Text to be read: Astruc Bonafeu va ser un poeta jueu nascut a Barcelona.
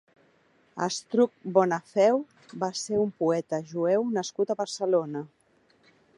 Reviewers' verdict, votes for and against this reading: accepted, 2, 0